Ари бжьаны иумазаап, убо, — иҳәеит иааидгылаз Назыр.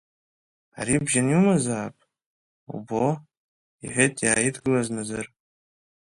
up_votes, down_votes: 1, 2